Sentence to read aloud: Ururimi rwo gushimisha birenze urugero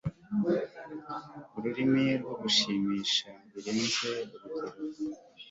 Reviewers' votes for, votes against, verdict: 2, 0, accepted